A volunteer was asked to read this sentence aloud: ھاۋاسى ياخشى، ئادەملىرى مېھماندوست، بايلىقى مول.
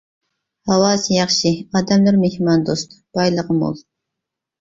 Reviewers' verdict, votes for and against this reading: accepted, 3, 0